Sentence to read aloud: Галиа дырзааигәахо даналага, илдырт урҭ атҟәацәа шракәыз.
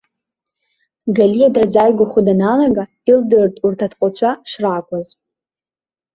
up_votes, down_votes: 1, 2